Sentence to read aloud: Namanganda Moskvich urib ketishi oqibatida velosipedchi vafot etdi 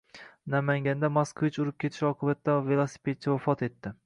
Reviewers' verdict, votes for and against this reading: accepted, 2, 0